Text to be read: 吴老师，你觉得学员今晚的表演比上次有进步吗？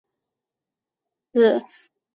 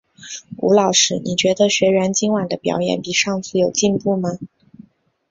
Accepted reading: second